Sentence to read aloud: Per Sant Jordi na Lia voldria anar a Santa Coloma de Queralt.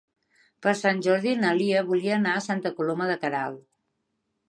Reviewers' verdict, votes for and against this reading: rejected, 1, 4